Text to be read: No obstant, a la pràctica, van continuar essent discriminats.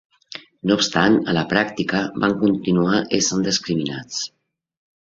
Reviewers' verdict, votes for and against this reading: accepted, 2, 0